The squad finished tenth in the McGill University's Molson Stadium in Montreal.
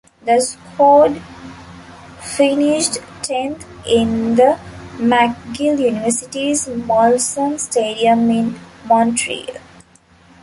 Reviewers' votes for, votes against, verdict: 0, 2, rejected